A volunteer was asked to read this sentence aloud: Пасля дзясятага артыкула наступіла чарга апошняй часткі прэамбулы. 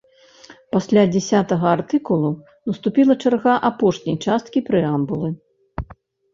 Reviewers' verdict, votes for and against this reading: rejected, 0, 2